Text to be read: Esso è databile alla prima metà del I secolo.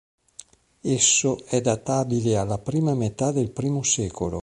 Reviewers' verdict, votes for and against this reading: rejected, 1, 2